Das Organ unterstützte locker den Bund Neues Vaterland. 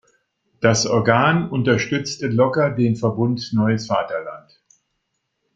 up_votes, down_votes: 1, 2